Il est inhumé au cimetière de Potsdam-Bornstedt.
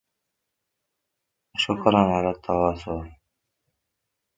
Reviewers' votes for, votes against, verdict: 0, 2, rejected